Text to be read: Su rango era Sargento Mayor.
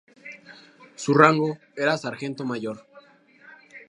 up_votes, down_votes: 4, 0